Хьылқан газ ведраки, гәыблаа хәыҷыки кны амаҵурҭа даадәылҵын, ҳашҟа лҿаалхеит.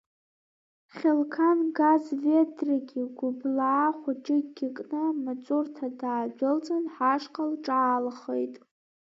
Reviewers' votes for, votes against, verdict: 2, 0, accepted